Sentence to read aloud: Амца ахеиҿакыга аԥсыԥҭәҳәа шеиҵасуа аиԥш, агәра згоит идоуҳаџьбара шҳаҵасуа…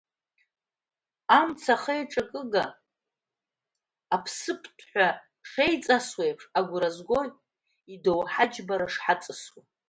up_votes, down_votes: 1, 2